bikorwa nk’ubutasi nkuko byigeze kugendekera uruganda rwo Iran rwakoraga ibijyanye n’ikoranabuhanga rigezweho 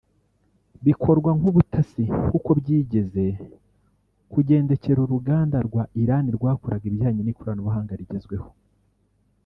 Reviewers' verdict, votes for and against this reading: rejected, 0, 2